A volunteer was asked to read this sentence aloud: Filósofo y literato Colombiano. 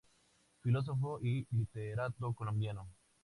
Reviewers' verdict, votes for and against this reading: accepted, 2, 0